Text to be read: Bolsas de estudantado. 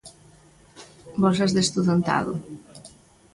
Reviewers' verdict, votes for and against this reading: accepted, 2, 0